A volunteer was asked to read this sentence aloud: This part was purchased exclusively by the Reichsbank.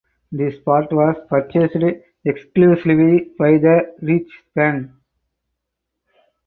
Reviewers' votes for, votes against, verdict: 2, 2, rejected